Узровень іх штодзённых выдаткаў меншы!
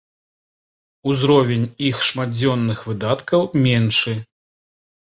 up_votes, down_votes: 0, 2